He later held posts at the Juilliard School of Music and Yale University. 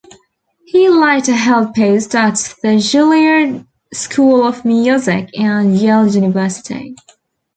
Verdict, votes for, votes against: accepted, 2, 1